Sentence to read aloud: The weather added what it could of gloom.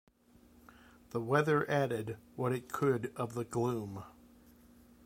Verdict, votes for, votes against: rejected, 1, 2